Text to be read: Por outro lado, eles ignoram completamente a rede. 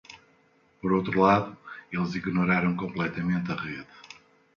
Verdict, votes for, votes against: rejected, 1, 2